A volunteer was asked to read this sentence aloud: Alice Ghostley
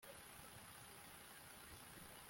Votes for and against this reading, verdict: 0, 2, rejected